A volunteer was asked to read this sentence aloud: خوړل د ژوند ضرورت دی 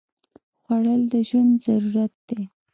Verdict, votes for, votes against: accepted, 2, 1